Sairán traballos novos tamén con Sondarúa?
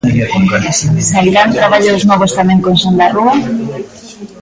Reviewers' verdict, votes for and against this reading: rejected, 0, 2